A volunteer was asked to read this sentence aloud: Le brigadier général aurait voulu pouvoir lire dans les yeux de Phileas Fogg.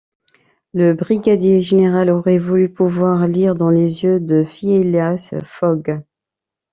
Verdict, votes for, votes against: rejected, 1, 2